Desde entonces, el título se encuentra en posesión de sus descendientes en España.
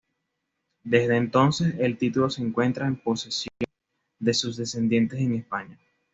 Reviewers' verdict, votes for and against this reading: accepted, 2, 0